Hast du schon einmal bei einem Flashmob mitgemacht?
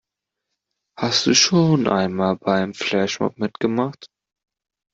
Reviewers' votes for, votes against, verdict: 2, 1, accepted